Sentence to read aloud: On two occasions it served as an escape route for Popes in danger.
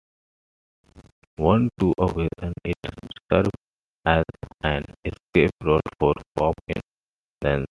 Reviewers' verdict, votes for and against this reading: rejected, 2, 3